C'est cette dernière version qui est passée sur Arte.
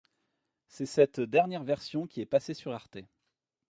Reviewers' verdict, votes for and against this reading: accepted, 2, 1